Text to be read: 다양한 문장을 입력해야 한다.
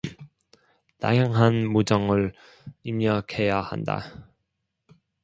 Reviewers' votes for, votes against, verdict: 1, 2, rejected